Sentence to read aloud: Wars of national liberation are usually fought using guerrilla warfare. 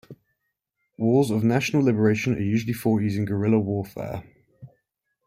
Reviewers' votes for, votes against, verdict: 2, 0, accepted